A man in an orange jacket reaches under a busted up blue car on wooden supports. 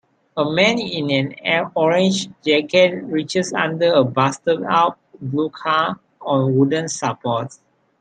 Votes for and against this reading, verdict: 0, 3, rejected